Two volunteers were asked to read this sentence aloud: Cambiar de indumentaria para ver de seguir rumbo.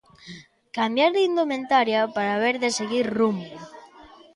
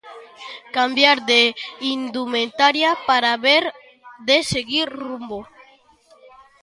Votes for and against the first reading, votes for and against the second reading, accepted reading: 2, 0, 0, 2, first